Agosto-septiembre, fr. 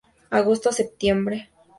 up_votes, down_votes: 2, 4